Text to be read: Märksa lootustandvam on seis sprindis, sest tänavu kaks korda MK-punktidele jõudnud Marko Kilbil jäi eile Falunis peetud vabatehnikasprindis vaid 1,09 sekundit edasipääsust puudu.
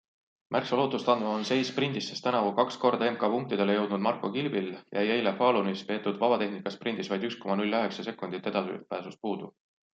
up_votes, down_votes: 0, 2